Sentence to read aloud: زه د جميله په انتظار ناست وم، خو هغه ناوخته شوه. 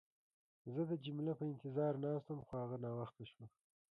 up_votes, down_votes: 1, 2